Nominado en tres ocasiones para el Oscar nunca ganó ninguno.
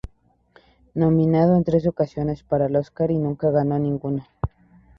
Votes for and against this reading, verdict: 2, 0, accepted